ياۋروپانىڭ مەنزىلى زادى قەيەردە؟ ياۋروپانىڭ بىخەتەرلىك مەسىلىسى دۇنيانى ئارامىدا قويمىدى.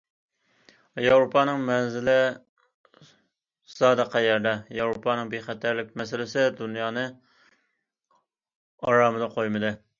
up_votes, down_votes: 2, 1